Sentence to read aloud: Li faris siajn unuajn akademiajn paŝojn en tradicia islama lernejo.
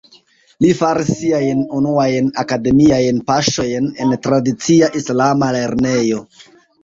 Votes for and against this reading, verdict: 1, 2, rejected